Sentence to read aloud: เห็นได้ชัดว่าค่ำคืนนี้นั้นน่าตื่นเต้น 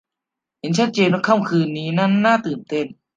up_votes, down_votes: 0, 2